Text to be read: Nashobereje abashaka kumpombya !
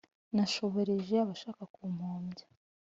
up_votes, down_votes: 2, 0